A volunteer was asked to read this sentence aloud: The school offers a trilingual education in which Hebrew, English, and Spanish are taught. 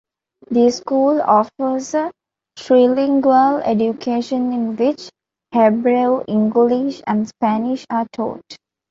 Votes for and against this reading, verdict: 0, 2, rejected